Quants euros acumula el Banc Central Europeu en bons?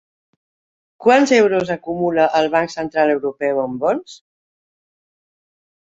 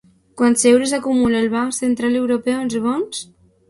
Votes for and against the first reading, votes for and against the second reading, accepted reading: 2, 0, 2, 2, first